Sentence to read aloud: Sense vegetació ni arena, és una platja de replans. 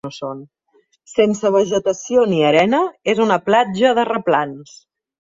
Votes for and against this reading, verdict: 1, 2, rejected